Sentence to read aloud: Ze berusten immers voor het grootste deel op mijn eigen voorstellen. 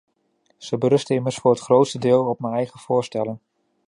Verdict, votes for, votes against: accepted, 2, 0